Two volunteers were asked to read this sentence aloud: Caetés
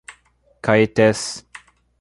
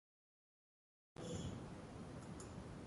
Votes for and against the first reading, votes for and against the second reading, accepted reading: 2, 0, 0, 2, first